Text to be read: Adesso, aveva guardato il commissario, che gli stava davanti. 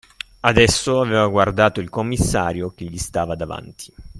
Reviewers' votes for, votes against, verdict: 3, 0, accepted